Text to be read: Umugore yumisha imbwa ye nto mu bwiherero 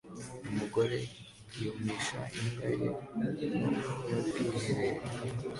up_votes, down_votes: 2, 1